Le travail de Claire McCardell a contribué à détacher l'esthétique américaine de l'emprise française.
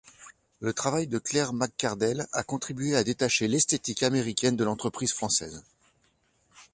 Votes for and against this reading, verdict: 0, 2, rejected